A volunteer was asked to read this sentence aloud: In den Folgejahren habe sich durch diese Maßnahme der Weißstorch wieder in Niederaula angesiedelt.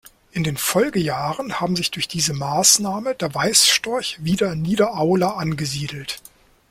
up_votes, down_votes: 0, 2